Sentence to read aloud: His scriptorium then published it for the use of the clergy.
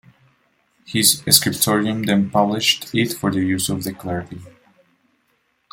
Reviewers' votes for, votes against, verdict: 1, 2, rejected